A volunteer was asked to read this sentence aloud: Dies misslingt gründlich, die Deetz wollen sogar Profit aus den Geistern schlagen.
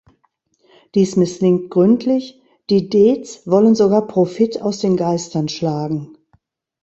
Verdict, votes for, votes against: rejected, 1, 2